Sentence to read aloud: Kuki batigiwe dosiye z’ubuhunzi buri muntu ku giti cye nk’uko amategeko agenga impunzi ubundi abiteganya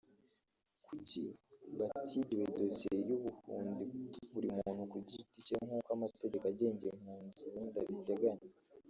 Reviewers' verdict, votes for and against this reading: rejected, 0, 3